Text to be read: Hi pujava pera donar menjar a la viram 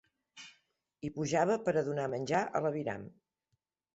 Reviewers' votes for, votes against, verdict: 2, 0, accepted